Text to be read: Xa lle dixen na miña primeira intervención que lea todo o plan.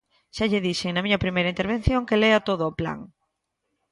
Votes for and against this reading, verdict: 2, 0, accepted